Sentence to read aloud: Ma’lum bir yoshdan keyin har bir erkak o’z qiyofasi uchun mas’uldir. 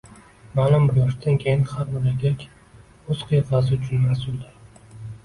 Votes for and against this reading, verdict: 2, 0, accepted